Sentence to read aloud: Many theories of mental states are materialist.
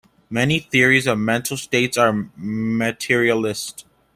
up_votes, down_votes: 2, 0